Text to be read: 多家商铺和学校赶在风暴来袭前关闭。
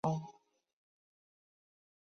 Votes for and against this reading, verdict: 0, 2, rejected